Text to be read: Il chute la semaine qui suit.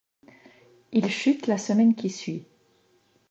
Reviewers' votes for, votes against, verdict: 2, 0, accepted